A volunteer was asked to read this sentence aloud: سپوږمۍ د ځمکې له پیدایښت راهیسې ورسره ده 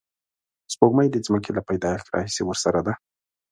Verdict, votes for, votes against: accepted, 2, 0